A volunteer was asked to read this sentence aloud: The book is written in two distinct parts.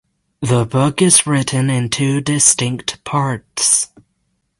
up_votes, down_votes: 6, 0